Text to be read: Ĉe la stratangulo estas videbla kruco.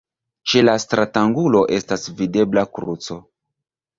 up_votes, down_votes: 2, 0